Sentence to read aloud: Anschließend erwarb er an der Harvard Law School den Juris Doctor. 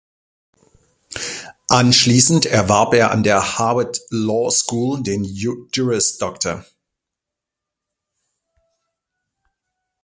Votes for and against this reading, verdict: 0, 2, rejected